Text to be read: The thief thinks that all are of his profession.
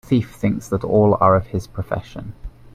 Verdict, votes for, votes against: accepted, 2, 0